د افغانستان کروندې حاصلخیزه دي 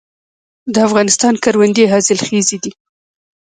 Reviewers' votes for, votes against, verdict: 1, 2, rejected